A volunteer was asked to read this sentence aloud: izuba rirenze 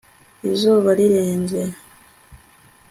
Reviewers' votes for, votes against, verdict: 2, 0, accepted